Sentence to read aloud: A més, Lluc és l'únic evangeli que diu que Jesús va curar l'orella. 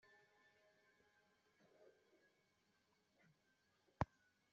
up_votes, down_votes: 0, 2